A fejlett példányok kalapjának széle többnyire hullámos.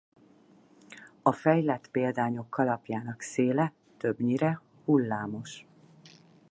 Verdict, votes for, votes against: accepted, 6, 0